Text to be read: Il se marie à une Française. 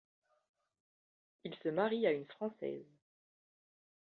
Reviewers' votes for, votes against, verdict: 0, 2, rejected